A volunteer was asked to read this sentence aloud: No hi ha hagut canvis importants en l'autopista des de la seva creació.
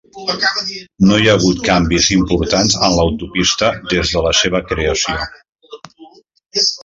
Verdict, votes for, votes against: accepted, 3, 0